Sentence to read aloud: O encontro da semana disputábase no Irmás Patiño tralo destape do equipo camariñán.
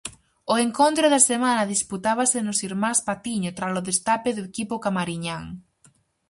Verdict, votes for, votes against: rejected, 0, 4